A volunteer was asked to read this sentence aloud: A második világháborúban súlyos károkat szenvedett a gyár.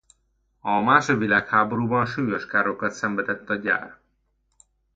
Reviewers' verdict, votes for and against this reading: rejected, 0, 2